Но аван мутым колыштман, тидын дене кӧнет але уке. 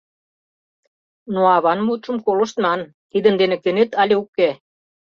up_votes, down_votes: 1, 2